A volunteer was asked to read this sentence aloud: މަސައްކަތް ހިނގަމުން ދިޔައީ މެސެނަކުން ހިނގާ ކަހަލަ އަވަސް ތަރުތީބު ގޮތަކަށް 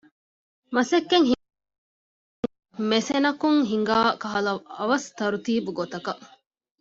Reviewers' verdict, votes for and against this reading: rejected, 0, 2